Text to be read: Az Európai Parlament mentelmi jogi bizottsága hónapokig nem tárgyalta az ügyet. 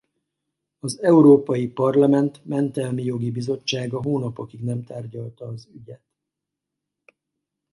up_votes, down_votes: 4, 2